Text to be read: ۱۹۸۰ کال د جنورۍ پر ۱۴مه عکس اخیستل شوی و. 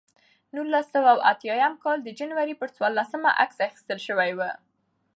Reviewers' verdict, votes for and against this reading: rejected, 0, 2